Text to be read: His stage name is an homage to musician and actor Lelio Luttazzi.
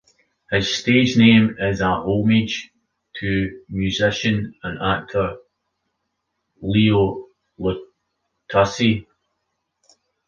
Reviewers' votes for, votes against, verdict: 0, 2, rejected